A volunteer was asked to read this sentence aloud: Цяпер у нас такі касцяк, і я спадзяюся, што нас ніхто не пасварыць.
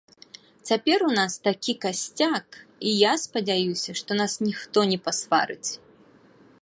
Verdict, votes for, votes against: accepted, 4, 0